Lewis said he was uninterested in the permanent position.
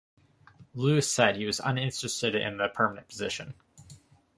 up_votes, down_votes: 2, 0